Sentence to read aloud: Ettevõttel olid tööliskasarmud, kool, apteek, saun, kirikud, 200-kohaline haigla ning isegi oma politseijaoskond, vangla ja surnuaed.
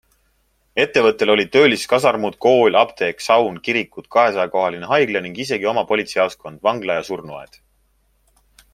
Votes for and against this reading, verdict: 0, 2, rejected